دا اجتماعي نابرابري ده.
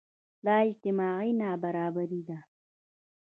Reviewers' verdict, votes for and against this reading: accepted, 3, 1